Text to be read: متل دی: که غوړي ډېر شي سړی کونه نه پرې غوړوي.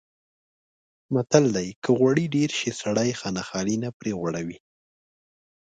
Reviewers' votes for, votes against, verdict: 0, 2, rejected